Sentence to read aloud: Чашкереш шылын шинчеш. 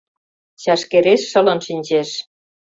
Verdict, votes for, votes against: accepted, 2, 0